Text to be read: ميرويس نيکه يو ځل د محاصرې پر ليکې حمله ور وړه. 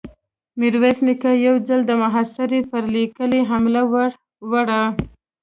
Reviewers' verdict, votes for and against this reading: rejected, 1, 2